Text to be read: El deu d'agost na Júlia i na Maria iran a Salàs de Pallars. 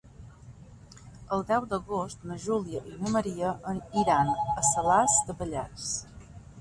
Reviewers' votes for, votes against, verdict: 1, 2, rejected